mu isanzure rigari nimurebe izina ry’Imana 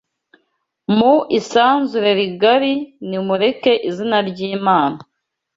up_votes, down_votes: 0, 2